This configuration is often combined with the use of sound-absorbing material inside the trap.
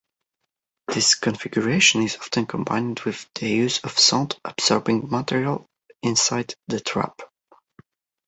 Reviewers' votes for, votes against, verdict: 2, 0, accepted